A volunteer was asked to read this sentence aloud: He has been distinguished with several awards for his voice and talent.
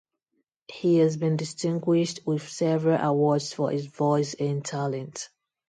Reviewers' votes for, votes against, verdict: 2, 0, accepted